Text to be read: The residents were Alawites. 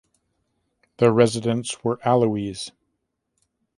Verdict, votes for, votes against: rejected, 1, 2